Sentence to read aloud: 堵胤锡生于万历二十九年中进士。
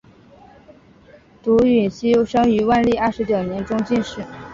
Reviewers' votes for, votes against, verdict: 2, 0, accepted